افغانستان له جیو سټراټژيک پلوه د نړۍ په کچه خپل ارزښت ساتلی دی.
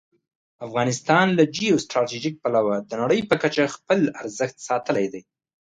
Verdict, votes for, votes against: accepted, 2, 0